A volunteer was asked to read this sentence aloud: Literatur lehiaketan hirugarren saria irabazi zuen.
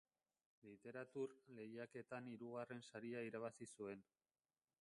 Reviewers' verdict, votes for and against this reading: rejected, 1, 2